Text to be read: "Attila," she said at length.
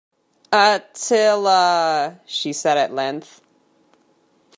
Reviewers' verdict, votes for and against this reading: accepted, 2, 0